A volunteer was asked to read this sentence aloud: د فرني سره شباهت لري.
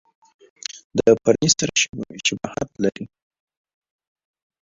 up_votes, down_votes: 1, 2